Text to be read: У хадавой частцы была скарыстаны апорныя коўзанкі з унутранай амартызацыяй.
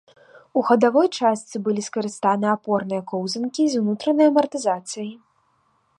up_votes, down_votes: 1, 2